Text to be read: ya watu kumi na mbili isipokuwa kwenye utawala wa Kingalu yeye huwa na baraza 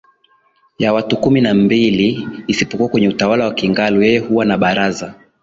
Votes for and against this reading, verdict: 2, 0, accepted